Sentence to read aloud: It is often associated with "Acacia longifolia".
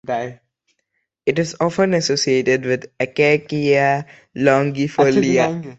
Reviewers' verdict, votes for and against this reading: rejected, 0, 2